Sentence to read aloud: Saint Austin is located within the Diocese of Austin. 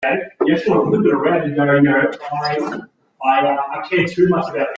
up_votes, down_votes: 0, 2